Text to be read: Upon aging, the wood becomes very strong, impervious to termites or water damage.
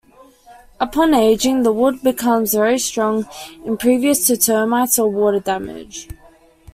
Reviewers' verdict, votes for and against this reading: accepted, 2, 1